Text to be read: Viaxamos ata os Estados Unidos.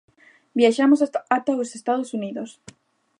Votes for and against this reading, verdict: 0, 2, rejected